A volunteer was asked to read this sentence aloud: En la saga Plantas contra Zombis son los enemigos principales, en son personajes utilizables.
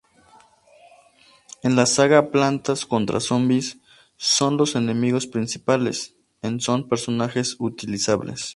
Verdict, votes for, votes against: accepted, 2, 0